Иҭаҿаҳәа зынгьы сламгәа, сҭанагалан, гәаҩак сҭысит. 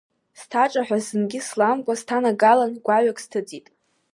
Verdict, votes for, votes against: accepted, 2, 0